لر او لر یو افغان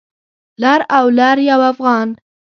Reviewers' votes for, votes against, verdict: 1, 2, rejected